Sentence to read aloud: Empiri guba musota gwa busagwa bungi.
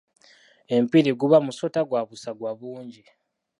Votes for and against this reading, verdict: 2, 0, accepted